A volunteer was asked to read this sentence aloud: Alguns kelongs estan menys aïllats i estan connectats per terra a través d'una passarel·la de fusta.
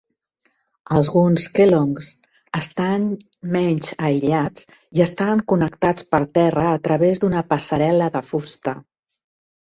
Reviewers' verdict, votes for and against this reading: rejected, 0, 2